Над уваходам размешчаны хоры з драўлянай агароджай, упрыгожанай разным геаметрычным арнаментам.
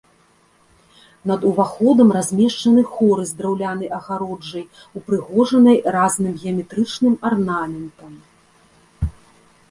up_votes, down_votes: 2, 0